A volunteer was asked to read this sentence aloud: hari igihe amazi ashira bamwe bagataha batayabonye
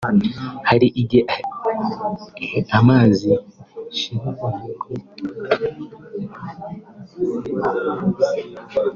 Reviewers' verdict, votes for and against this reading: rejected, 0, 2